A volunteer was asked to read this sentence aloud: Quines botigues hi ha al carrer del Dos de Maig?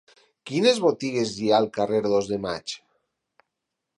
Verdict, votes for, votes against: rejected, 2, 4